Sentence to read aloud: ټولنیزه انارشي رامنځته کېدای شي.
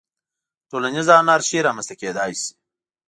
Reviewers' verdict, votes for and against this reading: accepted, 2, 0